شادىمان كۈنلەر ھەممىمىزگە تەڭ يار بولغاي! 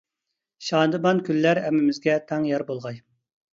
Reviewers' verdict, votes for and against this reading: accepted, 2, 0